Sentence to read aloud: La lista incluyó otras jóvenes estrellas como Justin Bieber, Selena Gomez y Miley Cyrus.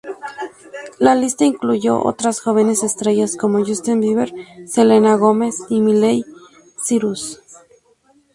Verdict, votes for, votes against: accepted, 2, 0